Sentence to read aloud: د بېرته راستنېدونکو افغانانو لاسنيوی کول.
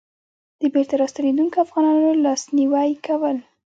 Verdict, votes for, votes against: accepted, 2, 0